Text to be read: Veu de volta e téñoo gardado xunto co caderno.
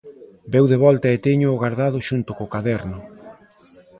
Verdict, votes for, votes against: rejected, 1, 2